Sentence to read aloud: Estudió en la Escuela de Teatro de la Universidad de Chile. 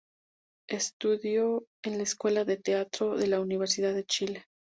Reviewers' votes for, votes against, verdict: 2, 0, accepted